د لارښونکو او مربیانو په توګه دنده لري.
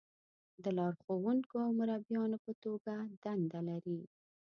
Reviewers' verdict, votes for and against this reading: accepted, 2, 0